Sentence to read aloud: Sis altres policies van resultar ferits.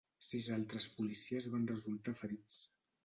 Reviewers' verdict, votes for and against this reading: accepted, 2, 0